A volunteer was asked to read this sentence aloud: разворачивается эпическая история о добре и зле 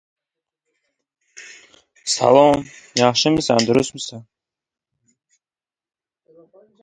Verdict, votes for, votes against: rejected, 0, 2